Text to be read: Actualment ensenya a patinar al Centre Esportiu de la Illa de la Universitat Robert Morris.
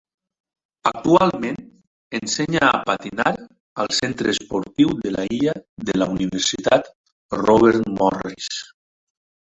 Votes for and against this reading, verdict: 3, 0, accepted